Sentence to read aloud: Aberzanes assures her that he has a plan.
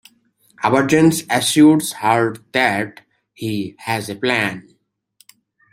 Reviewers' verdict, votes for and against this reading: accepted, 2, 0